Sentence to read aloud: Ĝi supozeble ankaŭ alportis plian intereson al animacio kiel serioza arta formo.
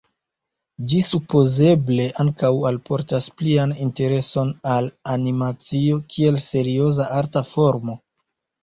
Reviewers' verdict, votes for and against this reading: rejected, 0, 2